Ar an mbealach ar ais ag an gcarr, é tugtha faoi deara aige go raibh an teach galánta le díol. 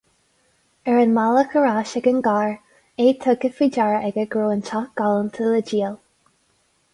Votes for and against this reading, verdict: 2, 2, rejected